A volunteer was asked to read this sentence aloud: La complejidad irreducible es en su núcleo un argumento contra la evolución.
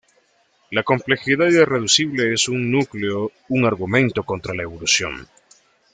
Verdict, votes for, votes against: rejected, 1, 2